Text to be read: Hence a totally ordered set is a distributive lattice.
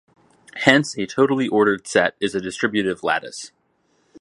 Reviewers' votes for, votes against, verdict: 0, 2, rejected